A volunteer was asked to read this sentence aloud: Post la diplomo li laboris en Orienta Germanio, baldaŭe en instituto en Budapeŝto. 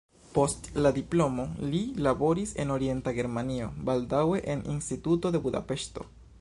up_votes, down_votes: 0, 2